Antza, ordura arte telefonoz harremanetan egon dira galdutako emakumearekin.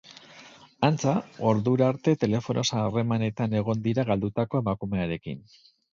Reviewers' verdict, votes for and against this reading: accepted, 4, 0